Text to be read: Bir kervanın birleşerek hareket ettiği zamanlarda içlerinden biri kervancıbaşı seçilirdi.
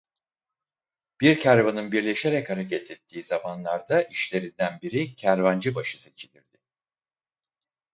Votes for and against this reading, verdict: 2, 4, rejected